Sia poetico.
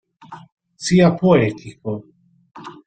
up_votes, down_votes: 4, 0